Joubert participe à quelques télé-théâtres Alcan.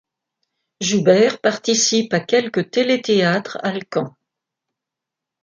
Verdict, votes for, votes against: rejected, 1, 2